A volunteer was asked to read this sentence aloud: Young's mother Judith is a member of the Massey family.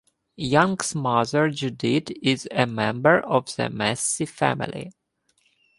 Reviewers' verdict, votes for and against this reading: accepted, 2, 0